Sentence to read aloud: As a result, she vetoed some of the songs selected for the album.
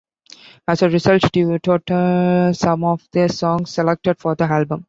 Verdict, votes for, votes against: rejected, 0, 2